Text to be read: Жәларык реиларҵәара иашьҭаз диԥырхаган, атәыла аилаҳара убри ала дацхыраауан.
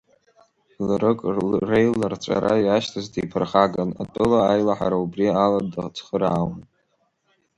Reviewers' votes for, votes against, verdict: 1, 2, rejected